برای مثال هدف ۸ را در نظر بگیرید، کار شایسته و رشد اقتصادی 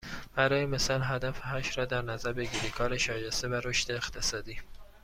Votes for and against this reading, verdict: 0, 2, rejected